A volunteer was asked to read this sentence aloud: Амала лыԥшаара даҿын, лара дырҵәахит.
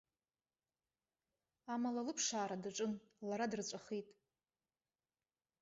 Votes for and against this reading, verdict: 4, 0, accepted